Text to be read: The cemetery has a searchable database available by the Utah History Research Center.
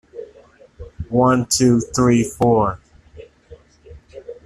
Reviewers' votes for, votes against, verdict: 0, 2, rejected